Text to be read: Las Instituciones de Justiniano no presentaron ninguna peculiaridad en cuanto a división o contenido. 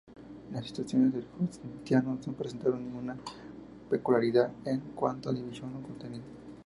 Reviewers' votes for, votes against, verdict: 2, 0, accepted